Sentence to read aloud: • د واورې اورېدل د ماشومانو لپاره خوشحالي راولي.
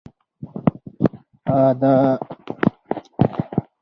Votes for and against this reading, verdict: 2, 4, rejected